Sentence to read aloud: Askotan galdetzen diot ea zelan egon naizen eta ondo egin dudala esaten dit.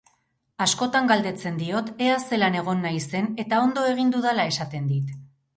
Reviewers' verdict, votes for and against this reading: accepted, 2, 0